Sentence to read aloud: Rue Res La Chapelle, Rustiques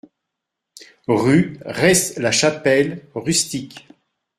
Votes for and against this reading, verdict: 2, 0, accepted